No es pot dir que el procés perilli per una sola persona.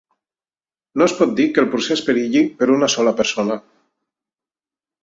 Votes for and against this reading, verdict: 3, 0, accepted